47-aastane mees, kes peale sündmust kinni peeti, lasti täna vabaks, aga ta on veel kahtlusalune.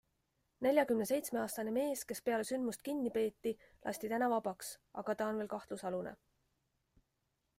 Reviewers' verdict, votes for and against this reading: rejected, 0, 2